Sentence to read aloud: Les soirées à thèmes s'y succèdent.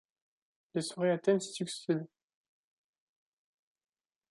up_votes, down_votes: 1, 2